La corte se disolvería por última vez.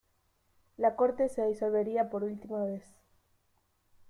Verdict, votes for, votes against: accepted, 2, 0